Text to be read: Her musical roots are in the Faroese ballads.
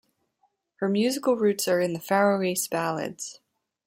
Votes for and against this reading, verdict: 2, 0, accepted